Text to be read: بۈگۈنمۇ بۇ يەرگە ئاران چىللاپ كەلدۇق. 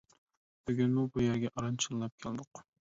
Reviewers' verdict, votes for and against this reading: accepted, 2, 1